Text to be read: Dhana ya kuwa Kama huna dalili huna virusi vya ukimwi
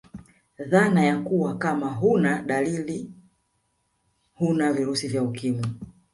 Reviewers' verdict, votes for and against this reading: rejected, 1, 2